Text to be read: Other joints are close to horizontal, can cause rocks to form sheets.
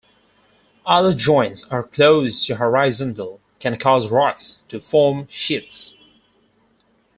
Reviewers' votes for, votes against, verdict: 2, 4, rejected